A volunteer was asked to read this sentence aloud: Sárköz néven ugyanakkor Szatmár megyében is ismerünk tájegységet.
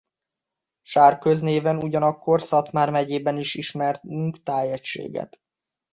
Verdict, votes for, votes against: rejected, 1, 2